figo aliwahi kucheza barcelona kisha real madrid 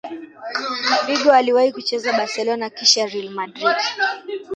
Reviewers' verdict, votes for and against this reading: rejected, 0, 2